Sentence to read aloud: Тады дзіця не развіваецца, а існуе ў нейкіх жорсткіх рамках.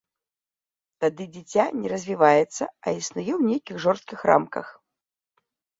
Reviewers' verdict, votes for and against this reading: accepted, 2, 0